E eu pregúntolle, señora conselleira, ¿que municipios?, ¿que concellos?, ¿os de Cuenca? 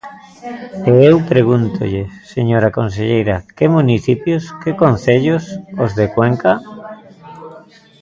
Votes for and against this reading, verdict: 1, 2, rejected